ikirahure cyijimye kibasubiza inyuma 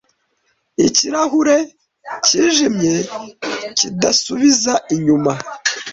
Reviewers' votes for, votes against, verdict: 1, 2, rejected